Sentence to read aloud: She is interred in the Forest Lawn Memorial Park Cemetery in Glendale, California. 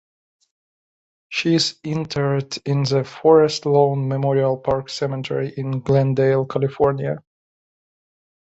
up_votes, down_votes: 2, 0